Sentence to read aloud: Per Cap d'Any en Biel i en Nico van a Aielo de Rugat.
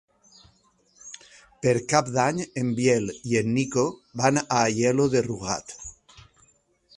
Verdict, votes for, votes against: accepted, 4, 0